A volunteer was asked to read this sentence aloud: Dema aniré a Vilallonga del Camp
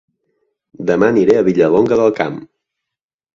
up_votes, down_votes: 1, 2